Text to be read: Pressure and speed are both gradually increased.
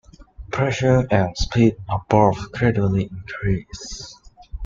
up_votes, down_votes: 2, 0